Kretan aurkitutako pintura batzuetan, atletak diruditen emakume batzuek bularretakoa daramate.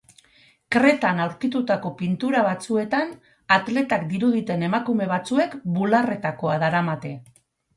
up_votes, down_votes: 6, 0